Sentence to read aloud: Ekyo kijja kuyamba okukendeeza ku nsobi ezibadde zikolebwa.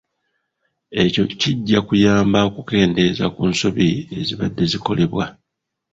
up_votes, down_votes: 1, 2